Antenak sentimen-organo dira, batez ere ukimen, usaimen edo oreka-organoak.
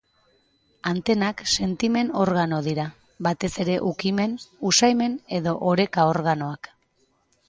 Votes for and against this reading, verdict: 2, 0, accepted